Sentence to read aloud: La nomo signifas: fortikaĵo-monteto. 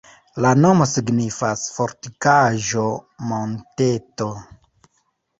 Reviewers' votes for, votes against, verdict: 2, 1, accepted